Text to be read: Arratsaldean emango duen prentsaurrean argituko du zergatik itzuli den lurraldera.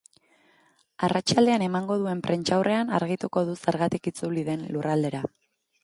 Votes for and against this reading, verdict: 1, 2, rejected